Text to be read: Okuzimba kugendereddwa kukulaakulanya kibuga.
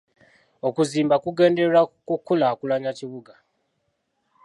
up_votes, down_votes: 2, 1